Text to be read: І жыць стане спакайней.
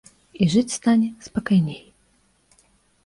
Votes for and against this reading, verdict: 2, 0, accepted